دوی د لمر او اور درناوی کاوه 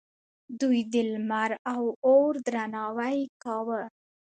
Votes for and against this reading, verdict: 2, 0, accepted